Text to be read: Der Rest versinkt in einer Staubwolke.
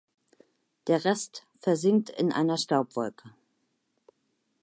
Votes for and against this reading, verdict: 2, 0, accepted